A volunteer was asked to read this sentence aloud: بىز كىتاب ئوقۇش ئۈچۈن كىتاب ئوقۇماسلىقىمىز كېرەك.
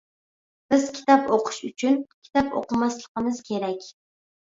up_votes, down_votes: 2, 0